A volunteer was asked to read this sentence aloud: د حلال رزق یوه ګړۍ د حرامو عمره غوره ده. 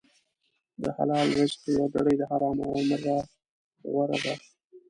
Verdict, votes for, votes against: rejected, 0, 2